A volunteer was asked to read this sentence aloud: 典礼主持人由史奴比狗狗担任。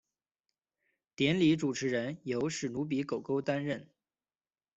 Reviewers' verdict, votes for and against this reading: accepted, 2, 0